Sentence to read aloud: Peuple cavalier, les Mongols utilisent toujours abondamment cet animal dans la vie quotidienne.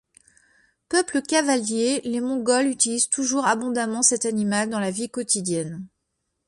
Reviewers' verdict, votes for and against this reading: accepted, 2, 0